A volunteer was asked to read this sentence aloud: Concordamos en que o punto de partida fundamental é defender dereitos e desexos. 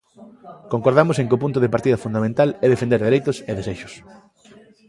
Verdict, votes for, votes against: accepted, 2, 0